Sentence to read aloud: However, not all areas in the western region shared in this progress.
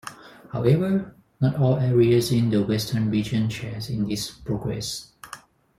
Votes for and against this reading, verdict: 2, 4, rejected